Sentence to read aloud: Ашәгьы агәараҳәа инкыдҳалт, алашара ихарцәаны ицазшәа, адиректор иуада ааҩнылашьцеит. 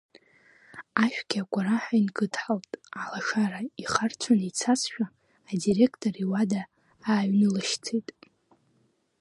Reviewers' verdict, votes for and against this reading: accepted, 2, 0